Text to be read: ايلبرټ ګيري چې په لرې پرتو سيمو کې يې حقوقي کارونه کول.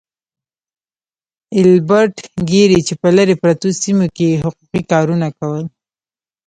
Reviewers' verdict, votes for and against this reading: rejected, 0, 2